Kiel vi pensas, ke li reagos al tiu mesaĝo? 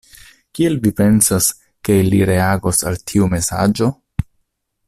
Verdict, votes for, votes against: accepted, 2, 0